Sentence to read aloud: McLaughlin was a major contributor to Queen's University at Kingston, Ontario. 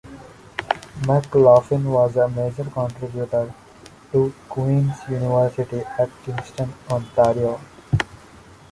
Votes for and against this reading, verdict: 0, 2, rejected